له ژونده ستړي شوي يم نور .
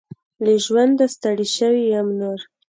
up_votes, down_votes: 2, 0